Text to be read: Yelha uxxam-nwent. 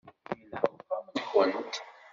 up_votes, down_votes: 0, 2